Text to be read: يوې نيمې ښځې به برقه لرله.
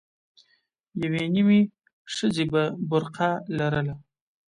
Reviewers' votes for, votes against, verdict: 2, 0, accepted